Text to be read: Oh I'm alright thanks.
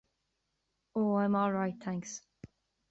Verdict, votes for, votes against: accepted, 2, 0